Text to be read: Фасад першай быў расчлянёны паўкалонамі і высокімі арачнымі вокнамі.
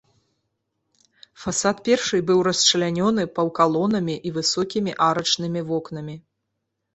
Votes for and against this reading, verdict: 3, 0, accepted